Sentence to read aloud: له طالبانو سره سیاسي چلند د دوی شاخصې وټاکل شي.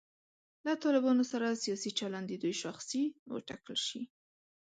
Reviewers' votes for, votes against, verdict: 2, 0, accepted